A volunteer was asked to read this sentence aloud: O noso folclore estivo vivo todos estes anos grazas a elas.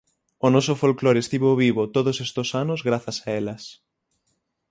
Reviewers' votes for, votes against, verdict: 0, 6, rejected